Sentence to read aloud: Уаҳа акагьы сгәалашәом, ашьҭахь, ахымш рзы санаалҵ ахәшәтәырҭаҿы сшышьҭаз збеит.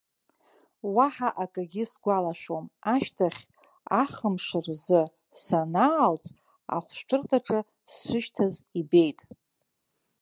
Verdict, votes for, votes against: accepted, 2, 0